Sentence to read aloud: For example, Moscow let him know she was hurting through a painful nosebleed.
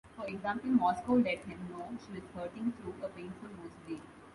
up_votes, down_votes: 1, 2